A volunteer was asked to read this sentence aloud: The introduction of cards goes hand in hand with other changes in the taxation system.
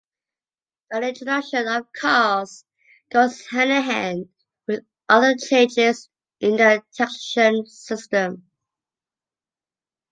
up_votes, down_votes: 0, 2